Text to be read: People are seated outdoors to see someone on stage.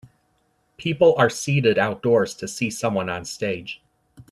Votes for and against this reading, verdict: 2, 0, accepted